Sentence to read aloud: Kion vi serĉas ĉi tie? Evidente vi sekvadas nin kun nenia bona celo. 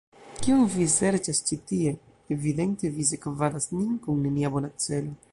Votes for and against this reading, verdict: 1, 2, rejected